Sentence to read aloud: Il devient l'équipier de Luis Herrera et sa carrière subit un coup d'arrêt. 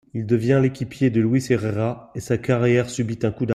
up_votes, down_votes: 0, 2